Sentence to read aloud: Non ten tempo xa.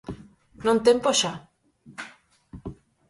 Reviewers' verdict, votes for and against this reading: rejected, 0, 4